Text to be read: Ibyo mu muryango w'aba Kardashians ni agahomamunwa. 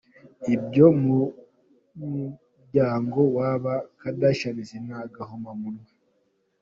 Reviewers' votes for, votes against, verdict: 1, 2, rejected